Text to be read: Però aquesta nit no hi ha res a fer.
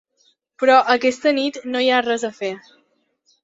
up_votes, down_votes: 3, 0